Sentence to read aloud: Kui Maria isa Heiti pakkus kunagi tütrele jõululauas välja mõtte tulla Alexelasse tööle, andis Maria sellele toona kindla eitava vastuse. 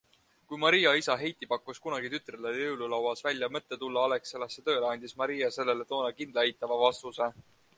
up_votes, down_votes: 2, 0